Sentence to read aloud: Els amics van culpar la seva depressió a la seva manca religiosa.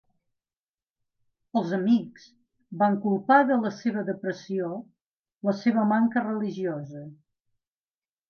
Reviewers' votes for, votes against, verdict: 0, 2, rejected